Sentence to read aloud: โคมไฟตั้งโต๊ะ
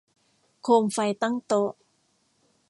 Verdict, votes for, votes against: accepted, 2, 0